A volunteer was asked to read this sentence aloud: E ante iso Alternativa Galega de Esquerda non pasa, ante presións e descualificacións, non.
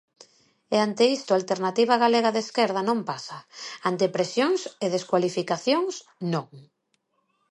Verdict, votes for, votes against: rejected, 1, 2